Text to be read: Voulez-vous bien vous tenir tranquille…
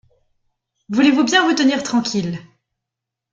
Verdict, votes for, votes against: accepted, 2, 0